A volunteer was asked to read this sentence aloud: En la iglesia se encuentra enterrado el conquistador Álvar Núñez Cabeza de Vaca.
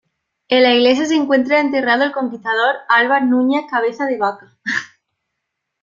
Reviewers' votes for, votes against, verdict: 2, 0, accepted